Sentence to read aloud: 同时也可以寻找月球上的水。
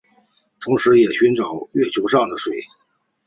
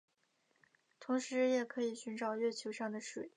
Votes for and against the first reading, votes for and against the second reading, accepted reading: 1, 2, 4, 0, second